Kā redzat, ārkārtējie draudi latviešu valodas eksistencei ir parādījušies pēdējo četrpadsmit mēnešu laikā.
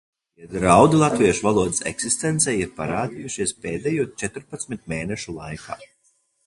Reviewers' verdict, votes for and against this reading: rejected, 0, 2